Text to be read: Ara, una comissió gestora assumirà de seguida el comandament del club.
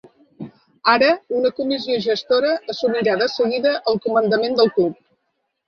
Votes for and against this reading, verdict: 2, 0, accepted